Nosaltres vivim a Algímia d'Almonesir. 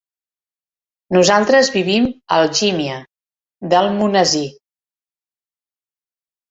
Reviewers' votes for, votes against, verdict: 2, 0, accepted